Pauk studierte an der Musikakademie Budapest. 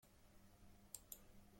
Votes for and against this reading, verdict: 0, 2, rejected